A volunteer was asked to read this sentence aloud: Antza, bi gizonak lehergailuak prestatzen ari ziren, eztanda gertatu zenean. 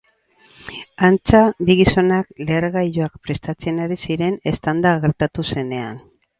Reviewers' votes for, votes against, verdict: 0, 4, rejected